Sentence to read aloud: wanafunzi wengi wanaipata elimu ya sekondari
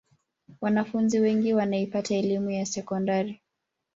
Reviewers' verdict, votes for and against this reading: accepted, 2, 0